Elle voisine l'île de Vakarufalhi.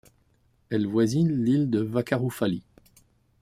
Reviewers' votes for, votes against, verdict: 2, 0, accepted